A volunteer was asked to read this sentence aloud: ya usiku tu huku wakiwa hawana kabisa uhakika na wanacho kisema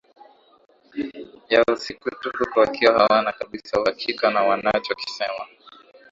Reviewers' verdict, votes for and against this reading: accepted, 3, 0